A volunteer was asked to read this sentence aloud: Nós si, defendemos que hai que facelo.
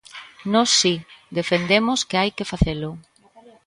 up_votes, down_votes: 2, 0